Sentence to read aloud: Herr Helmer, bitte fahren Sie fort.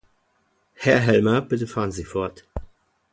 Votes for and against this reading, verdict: 2, 0, accepted